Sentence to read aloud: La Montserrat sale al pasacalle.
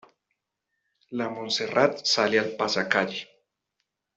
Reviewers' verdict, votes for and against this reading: accepted, 2, 0